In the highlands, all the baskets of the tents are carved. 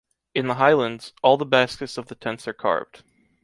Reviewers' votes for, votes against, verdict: 2, 0, accepted